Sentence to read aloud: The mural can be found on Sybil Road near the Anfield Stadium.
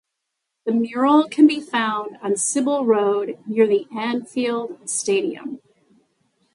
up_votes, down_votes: 2, 0